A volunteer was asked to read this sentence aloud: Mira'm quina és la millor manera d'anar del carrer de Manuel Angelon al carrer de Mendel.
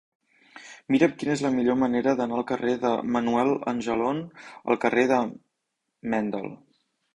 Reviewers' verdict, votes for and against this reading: rejected, 1, 2